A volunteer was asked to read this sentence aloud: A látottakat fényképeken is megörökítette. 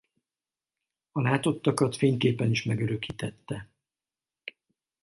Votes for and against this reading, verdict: 2, 2, rejected